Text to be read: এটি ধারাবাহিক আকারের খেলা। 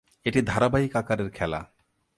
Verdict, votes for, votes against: accepted, 2, 0